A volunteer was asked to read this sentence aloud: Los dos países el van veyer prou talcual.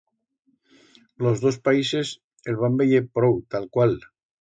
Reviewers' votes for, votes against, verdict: 2, 0, accepted